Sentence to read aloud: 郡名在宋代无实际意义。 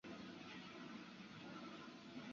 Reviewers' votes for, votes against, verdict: 0, 2, rejected